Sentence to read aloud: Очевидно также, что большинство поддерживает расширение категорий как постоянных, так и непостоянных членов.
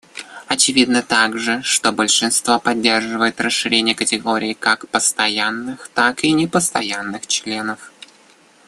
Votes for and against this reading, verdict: 2, 1, accepted